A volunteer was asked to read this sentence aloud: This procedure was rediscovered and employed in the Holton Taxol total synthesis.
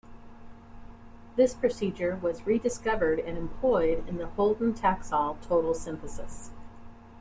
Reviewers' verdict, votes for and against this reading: accepted, 2, 0